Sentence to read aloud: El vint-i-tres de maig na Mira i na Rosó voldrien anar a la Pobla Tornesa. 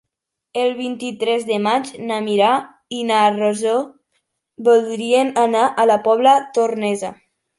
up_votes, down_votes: 1, 3